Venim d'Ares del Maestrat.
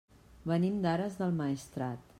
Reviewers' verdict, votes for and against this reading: accepted, 3, 0